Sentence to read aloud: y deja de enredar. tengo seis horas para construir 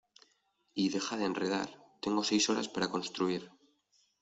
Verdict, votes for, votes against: accepted, 2, 0